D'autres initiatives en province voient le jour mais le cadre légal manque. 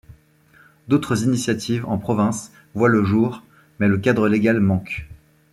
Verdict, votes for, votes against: accepted, 2, 0